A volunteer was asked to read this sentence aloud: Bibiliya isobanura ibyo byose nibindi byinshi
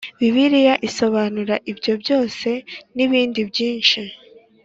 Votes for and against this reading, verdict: 4, 0, accepted